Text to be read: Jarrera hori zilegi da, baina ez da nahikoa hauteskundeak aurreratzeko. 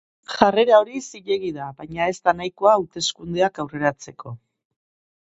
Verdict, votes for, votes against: accepted, 3, 0